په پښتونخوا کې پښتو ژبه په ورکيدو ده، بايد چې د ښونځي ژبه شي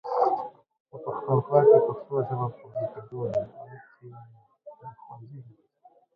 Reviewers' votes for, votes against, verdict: 0, 3, rejected